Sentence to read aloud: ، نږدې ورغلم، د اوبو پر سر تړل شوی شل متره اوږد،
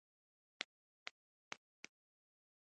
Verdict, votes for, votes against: rejected, 0, 2